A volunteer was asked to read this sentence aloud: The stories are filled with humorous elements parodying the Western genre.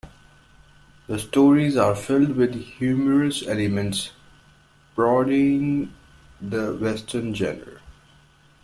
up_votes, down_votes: 0, 2